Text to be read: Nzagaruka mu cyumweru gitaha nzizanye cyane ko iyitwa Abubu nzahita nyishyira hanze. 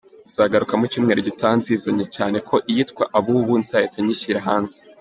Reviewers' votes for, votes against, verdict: 2, 0, accepted